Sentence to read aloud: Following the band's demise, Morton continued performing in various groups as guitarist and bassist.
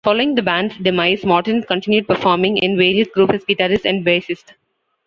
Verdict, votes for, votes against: rejected, 0, 2